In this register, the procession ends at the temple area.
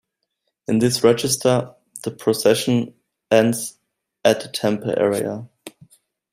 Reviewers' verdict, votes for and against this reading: accepted, 2, 0